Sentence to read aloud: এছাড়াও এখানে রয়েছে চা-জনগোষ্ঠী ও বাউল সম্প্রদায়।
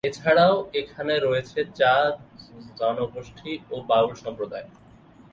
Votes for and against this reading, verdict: 0, 2, rejected